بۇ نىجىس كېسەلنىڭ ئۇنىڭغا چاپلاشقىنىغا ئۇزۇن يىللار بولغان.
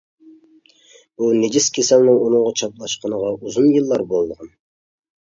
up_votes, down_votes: 1, 2